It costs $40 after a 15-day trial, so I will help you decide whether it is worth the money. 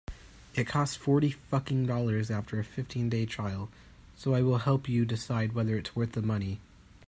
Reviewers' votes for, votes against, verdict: 0, 2, rejected